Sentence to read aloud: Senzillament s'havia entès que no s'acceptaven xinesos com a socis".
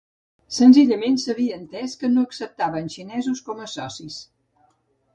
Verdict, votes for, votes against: rejected, 0, 2